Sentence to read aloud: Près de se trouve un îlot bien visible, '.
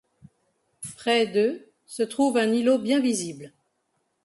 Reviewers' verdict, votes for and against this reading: rejected, 0, 2